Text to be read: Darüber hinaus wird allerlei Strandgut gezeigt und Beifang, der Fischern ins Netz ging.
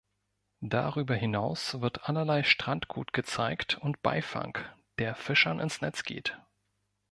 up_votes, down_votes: 0, 2